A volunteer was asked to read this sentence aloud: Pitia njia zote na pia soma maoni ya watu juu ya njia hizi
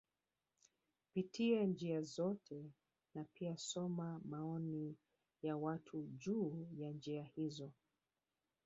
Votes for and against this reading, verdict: 1, 2, rejected